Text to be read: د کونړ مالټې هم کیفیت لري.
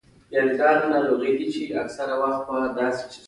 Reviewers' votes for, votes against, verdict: 1, 2, rejected